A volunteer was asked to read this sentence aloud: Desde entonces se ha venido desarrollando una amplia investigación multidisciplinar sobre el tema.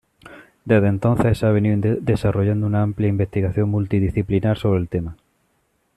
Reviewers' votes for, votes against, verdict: 1, 2, rejected